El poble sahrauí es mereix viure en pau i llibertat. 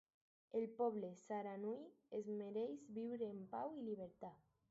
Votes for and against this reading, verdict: 2, 2, rejected